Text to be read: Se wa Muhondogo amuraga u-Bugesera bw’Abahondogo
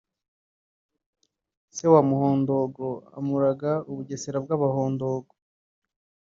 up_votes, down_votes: 0, 2